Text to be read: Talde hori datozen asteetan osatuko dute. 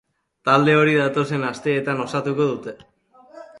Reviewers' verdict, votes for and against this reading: accepted, 3, 0